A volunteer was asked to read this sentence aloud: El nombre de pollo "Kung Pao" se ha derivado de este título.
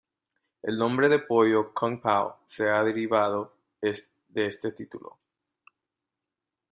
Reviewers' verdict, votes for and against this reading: rejected, 0, 2